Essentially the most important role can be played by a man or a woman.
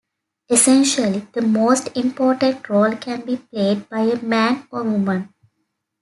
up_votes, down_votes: 0, 2